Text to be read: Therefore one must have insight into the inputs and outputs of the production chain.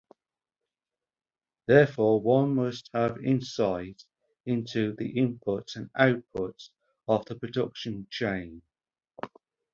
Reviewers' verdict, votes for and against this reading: accepted, 4, 0